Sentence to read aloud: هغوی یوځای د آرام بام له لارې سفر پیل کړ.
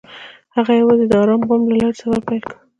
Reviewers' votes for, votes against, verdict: 0, 2, rejected